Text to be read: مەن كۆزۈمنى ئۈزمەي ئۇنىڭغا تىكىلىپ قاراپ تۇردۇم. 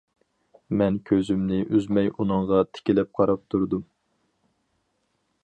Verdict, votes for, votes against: accepted, 4, 0